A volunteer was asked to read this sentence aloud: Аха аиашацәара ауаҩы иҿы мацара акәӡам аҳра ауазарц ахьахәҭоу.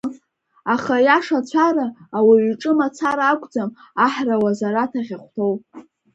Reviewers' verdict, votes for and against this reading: accepted, 4, 1